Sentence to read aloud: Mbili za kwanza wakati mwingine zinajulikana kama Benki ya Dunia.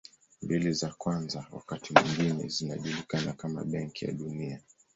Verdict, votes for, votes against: accepted, 2, 1